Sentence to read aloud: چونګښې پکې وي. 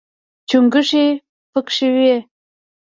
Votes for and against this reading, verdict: 0, 2, rejected